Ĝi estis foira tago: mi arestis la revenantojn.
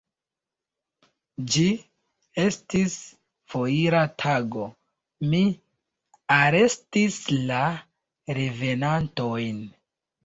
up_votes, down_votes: 1, 2